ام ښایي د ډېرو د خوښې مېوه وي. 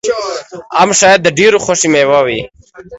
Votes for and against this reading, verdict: 2, 0, accepted